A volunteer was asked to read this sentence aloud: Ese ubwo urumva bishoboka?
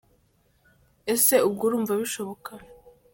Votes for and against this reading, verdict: 1, 2, rejected